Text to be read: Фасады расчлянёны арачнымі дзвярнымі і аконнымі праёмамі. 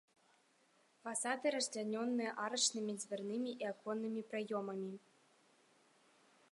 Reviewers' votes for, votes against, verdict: 1, 2, rejected